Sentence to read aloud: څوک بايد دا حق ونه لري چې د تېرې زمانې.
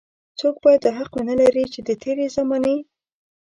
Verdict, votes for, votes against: rejected, 0, 2